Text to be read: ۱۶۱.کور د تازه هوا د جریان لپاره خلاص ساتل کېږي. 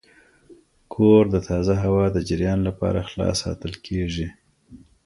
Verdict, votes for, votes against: rejected, 0, 2